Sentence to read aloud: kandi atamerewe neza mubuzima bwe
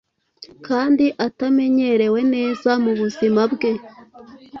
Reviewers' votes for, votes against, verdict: 1, 2, rejected